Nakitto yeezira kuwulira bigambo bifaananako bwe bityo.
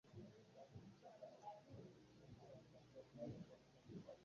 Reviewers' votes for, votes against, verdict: 0, 2, rejected